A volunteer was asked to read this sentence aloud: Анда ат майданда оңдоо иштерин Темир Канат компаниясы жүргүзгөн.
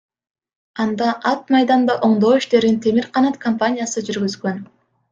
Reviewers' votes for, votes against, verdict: 2, 0, accepted